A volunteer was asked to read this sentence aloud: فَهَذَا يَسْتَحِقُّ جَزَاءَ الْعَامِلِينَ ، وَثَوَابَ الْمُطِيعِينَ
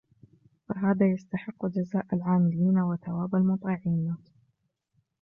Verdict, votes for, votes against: accepted, 2, 0